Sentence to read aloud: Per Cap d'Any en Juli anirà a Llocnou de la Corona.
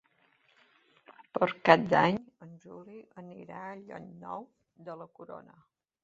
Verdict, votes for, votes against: rejected, 0, 2